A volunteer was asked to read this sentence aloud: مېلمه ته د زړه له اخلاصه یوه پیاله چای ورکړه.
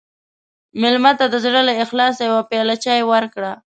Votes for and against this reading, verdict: 2, 0, accepted